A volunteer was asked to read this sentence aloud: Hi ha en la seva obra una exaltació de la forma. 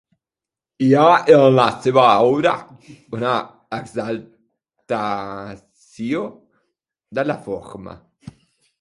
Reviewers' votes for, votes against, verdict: 0, 3, rejected